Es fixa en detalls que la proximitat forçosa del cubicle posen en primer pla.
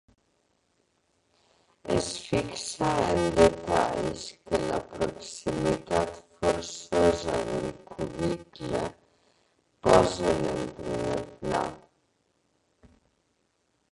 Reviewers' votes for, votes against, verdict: 0, 2, rejected